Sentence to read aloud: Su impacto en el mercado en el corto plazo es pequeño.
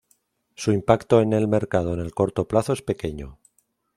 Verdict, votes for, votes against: accepted, 2, 0